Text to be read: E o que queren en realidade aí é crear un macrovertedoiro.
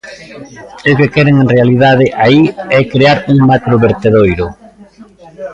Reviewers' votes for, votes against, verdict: 0, 2, rejected